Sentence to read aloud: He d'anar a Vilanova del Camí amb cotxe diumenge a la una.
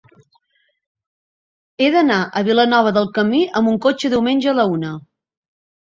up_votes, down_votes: 0, 3